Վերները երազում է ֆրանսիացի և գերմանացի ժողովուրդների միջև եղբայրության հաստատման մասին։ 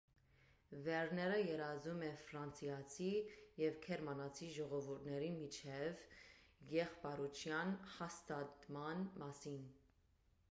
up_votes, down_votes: 2, 1